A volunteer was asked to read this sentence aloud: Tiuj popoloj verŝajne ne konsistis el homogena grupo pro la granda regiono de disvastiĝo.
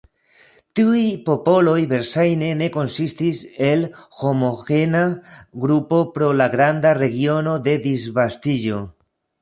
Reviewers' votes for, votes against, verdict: 1, 2, rejected